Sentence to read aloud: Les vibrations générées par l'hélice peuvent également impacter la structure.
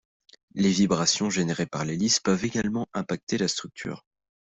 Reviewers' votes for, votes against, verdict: 2, 0, accepted